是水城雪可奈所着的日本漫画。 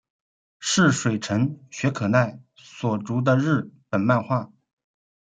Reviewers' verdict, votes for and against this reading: accepted, 2, 1